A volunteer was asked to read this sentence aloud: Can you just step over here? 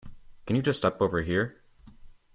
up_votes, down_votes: 2, 0